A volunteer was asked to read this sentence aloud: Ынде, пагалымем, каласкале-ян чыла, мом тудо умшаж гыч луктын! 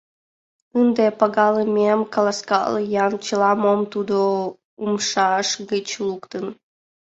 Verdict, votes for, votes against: rejected, 2, 6